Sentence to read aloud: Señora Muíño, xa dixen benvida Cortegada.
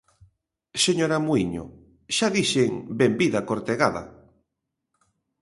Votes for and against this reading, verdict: 2, 0, accepted